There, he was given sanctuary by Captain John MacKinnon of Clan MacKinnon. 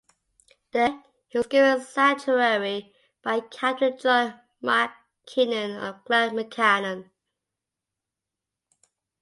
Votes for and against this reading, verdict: 2, 0, accepted